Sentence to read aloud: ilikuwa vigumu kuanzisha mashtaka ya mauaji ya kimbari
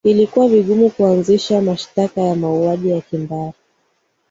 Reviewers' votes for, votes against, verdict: 2, 0, accepted